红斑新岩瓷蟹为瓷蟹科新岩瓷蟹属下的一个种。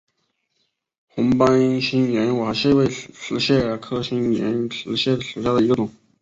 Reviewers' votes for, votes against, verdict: 2, 2, rejected